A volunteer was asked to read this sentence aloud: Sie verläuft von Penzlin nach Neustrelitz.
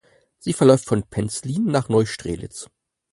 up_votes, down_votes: 4, 0